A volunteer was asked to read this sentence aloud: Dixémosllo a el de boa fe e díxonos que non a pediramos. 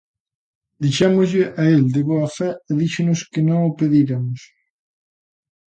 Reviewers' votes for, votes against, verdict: 0, 2, rejected